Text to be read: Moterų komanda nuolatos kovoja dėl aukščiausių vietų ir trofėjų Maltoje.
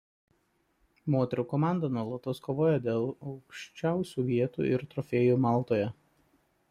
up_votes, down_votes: 2, 1